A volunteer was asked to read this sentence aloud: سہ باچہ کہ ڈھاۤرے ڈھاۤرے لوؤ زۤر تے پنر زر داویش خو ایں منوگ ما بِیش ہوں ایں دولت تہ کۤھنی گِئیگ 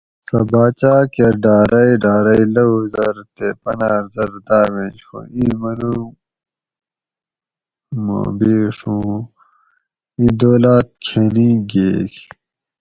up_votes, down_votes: 2, 4